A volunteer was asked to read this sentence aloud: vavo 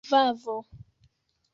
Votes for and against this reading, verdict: 2, 1, accepted